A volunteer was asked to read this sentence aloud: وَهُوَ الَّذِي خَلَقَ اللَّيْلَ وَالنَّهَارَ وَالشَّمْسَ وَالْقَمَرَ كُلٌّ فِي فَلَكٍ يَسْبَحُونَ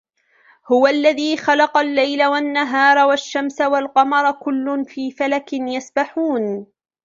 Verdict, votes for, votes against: accepted, 2, 0